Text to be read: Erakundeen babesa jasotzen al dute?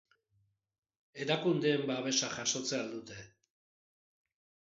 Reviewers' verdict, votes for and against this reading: accepted, 2, 0